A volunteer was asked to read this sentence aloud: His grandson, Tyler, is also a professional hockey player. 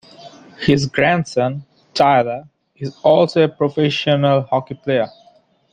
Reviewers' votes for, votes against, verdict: 2, 1, accepted